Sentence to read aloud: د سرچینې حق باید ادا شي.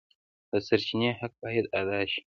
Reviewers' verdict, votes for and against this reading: rejected, 0, 2